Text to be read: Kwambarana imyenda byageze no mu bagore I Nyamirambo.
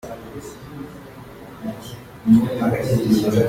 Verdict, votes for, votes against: rejected, 0, 2